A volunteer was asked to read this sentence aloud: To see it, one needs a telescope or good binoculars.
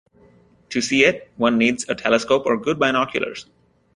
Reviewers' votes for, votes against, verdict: 2, 0, accepted